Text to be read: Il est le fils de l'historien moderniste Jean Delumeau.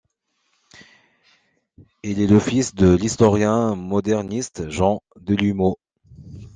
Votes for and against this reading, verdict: 2, 0, accepted